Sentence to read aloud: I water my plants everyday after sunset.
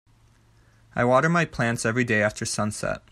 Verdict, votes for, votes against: accepted, 2, 0